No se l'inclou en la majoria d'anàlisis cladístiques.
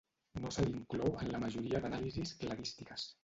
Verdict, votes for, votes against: rejected, 0, 2